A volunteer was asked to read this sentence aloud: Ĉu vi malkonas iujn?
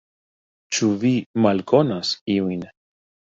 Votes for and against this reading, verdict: 2, 0, accepted